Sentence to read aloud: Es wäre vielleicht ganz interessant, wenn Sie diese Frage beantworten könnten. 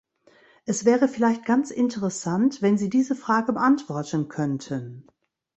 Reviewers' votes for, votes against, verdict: 2, 0, accepted